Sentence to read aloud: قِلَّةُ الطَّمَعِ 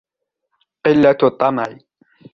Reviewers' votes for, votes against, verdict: 2, 0, accepted